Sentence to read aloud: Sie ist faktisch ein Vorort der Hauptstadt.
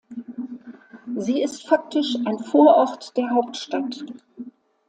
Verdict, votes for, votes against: accepted, 2, 0